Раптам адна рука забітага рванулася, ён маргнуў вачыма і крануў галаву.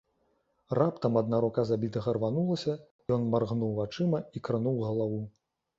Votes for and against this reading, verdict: 2, 0, accepted